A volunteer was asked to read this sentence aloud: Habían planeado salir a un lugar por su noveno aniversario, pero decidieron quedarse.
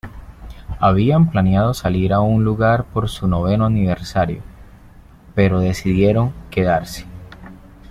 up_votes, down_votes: 2, 0